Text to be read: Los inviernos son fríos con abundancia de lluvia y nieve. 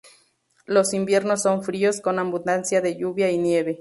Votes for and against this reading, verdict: 0, 4, rejected